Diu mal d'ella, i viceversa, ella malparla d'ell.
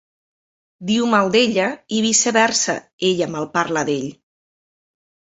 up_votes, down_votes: 2, 0